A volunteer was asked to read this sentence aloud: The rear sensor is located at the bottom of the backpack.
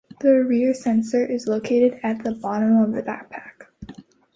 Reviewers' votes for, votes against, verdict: 2, 0, accepted